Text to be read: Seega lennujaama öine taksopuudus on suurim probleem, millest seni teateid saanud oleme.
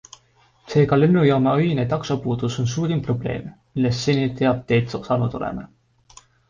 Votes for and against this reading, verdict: 2, 0, accepted